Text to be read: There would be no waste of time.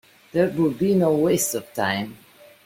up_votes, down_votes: 2, 0